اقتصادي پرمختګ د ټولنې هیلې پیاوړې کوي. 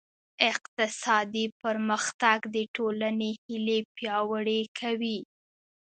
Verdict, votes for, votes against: accepted, 2, 0